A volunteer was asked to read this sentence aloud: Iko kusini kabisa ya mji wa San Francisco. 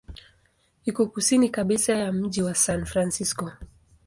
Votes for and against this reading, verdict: 2, 0, accepted